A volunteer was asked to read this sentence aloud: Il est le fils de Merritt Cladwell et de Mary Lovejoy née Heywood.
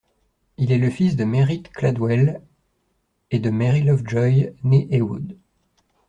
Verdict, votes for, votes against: accepted, 2, 0